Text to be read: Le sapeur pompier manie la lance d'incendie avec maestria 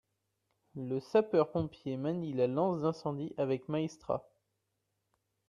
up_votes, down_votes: 0, 2